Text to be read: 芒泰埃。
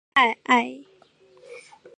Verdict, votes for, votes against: rejected, 0, 2